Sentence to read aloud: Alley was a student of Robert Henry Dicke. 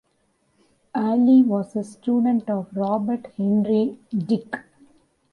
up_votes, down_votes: 2, 1